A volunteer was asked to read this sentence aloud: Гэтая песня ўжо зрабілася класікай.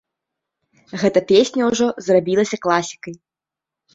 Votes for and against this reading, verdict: 0, 2, rejected